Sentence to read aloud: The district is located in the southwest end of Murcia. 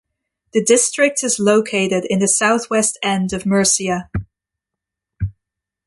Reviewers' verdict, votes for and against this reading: accepted, 2, 0